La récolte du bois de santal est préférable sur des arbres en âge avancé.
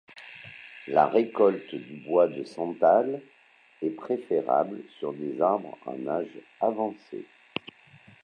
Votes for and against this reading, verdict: 2, 1, accepted